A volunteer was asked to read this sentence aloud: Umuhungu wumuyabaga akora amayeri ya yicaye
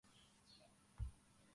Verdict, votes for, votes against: rejected, 0, 2